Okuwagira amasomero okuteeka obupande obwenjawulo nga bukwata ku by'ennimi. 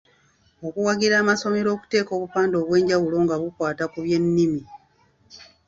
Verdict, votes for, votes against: accepted, 2, 0